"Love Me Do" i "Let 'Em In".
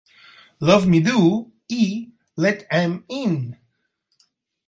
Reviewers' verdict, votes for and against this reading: accepted, 4, 0